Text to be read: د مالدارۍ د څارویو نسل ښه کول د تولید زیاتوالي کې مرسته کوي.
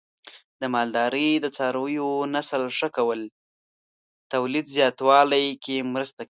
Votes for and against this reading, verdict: 1, 2, rejected